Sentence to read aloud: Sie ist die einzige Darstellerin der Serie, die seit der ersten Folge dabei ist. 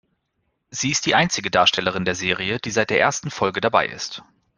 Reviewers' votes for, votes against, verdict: 2, 0, accepted